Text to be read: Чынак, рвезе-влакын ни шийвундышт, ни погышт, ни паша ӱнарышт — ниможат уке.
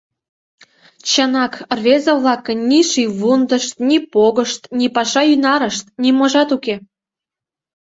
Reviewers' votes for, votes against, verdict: 2, 0, accepted